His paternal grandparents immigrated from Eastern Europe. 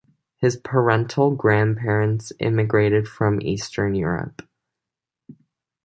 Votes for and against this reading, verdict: 1, 2, rejected